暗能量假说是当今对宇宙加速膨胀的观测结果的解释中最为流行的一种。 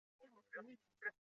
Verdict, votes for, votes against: rejected, 0, 2